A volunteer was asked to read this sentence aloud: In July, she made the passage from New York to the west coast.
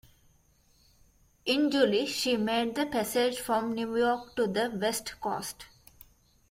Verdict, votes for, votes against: rejected, 1, 2